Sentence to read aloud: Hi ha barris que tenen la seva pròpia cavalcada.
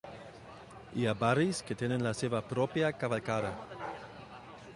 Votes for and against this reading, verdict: 2, 1, accepted